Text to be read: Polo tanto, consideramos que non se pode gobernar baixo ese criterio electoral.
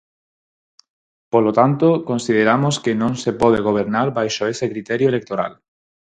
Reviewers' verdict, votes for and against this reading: accepted, 4, 0